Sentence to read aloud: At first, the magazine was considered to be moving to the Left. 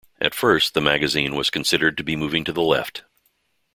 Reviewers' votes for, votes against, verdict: 2, 0, accepted